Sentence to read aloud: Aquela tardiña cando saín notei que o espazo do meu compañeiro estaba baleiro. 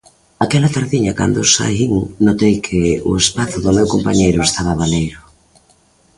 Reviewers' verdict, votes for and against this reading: accepted, 2, 0